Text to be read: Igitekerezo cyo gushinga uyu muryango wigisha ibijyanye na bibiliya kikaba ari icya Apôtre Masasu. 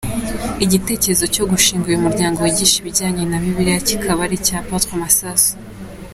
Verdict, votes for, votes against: accepted, 2, 1